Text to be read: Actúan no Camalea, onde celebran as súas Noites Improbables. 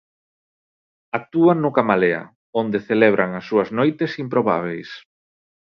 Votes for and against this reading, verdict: 0, 2, rejected